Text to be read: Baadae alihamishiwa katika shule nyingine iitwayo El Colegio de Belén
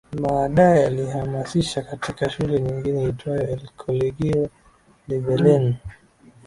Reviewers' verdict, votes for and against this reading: rejected, 0, 2